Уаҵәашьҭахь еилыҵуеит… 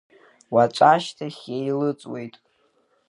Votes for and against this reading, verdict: 2, 1, accepted